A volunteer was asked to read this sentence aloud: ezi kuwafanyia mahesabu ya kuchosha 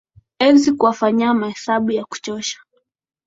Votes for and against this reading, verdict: 2, 0, accepted